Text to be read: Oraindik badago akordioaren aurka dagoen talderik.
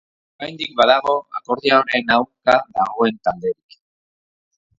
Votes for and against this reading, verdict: 2, 3, rejected